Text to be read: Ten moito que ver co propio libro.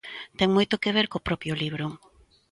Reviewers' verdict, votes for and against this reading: accepted, 2, 0